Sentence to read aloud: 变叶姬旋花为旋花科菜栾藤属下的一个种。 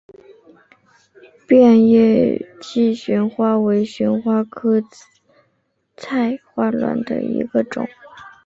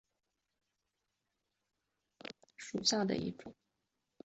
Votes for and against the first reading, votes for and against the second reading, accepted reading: 2, 0, 0, 2, first